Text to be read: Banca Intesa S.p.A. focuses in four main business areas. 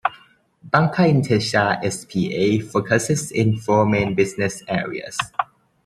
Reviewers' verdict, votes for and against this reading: accepted, 2, 0